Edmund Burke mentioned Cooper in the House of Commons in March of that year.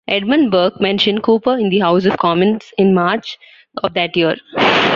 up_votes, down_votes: 2, 0